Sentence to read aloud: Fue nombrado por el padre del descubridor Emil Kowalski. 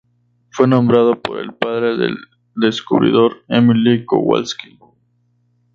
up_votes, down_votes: 0, 4